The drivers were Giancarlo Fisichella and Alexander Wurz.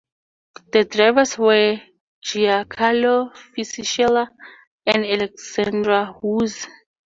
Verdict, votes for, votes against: rejected, 2, 2